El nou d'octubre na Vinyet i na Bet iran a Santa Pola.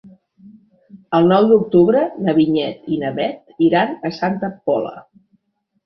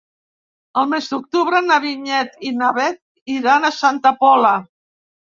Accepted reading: first